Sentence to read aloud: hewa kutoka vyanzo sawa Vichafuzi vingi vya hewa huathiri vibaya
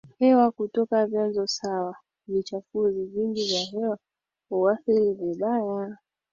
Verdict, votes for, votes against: accepted, 2, 0